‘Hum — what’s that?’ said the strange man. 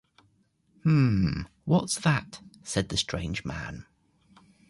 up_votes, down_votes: 2, 0